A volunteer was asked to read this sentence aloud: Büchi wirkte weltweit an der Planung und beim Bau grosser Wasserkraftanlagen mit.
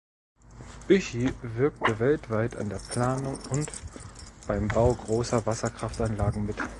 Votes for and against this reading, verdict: 2, 0, accepted